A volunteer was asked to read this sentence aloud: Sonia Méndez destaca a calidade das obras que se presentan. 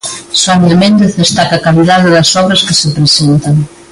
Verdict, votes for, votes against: accepted, 2, 1